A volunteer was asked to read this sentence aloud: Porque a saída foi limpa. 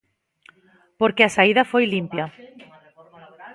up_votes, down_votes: 7, 3